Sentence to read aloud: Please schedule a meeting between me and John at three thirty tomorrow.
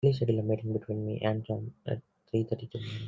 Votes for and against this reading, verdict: 0, 2, rejected